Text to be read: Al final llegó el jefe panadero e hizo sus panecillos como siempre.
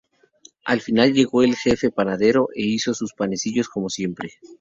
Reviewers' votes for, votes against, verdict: 2, 2, rejected